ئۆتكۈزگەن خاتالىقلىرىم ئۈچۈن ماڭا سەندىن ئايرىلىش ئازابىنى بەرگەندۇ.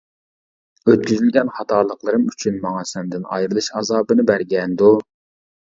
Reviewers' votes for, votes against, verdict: 0, 2, rejected